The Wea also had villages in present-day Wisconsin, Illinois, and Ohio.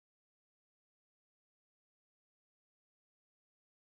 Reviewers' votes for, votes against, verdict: 0, 2, rejected